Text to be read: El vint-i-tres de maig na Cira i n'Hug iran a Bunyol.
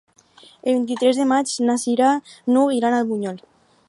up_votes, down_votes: 2, 4